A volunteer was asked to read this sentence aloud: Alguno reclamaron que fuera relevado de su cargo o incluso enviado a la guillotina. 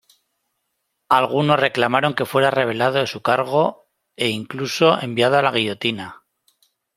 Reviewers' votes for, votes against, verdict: 0, 2, rejected